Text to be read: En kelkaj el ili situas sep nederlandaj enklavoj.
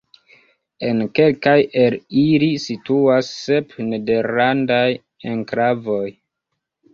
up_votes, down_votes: 0, 2